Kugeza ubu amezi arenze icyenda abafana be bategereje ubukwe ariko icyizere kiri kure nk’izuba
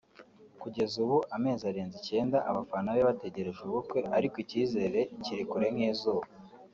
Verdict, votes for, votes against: rejected, 0, 2